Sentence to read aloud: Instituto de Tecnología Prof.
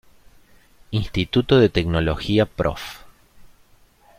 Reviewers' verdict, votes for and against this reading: accepted, 2, 1